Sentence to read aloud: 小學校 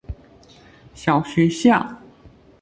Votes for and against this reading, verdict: 2, 0, accepted